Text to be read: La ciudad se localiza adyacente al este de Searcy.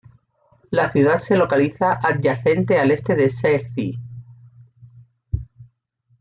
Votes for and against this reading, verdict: 1, 2, rejected